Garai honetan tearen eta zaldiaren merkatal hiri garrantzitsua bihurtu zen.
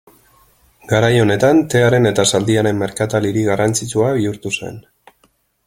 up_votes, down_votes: 2, 0